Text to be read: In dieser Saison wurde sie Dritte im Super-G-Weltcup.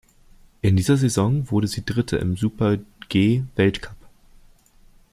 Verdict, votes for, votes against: rejected, 1, 2